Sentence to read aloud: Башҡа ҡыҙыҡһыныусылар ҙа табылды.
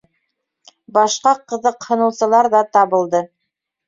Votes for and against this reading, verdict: 2, 0, accepted